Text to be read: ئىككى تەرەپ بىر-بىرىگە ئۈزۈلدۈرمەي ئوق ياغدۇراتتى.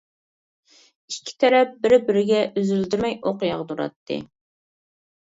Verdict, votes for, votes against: rejected, 1, 2